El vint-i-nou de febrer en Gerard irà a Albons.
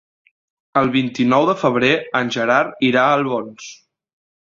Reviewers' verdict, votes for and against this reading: accepted, 2, 0